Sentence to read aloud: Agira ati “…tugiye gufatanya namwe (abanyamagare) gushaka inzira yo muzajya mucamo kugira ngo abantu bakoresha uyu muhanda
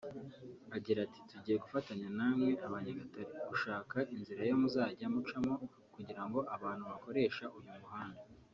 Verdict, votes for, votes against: accepted, 2, 1